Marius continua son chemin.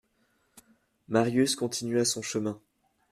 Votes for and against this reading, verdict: 2, 0, accepted